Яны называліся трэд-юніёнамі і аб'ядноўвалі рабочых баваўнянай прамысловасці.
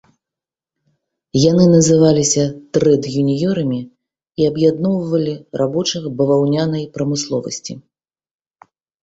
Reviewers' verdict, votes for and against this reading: rejected, 0, 2